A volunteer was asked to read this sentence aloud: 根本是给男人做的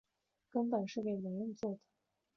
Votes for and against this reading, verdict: 3, 0, accepted